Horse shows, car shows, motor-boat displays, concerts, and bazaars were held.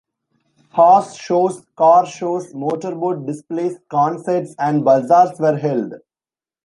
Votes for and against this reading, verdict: 2, 0, accepted